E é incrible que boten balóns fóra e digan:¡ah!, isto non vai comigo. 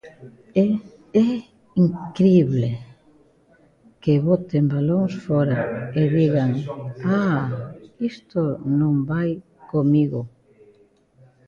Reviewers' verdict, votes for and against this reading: accepted, 2, 0